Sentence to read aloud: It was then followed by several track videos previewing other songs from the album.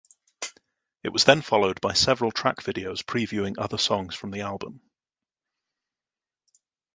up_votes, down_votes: 2, 0